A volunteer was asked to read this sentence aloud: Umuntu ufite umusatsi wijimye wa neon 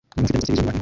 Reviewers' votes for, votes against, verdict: 0, 2, rejected